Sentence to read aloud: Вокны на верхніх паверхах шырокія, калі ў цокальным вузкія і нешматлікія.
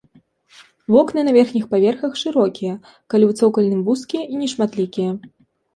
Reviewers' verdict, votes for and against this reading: accepted, 2, 0